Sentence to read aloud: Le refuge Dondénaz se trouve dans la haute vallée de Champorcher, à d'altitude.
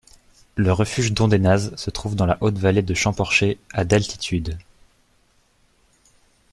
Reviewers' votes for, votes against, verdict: 2, 0, accepted